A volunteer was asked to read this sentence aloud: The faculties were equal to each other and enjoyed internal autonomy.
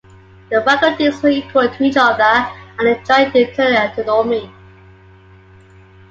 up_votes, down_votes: 2, 1